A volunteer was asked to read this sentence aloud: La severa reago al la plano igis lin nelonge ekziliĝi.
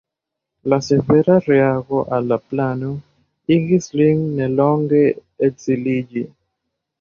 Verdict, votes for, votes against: rejected, 1, 2